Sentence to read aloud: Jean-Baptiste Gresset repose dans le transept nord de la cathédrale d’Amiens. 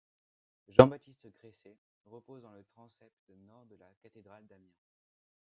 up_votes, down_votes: 0, 2